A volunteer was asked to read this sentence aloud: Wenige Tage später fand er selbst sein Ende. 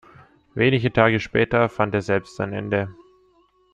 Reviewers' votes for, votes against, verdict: 2, 0, accepted